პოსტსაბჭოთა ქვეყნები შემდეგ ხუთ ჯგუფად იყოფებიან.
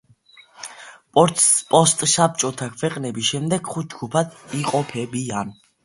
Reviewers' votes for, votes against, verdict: 0, 2, rejected